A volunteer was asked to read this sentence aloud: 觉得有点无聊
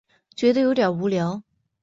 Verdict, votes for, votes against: accepted, 4, 0